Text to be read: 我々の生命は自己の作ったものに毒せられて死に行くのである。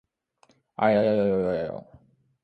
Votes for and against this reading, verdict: 1, 2, rejected